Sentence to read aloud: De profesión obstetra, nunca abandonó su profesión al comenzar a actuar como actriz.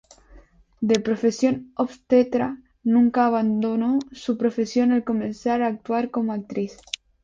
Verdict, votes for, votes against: rejected, 2, 2